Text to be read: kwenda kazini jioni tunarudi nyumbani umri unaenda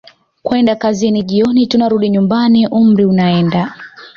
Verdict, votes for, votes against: accepted, 2, 1